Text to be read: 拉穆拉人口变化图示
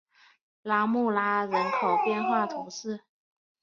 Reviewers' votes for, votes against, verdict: 2, 0, accepted